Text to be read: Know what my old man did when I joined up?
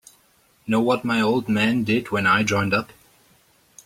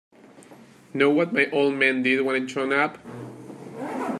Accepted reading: first